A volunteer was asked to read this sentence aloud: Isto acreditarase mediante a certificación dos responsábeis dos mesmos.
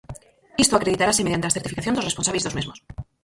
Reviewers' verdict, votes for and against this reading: rejected, 0, 4